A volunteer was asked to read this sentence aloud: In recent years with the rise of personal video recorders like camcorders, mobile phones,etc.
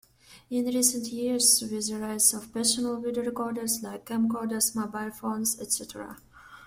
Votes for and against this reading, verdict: 2, 0, accepted